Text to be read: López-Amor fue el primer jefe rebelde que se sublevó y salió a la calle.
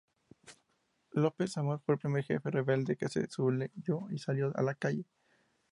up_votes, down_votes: 2, 0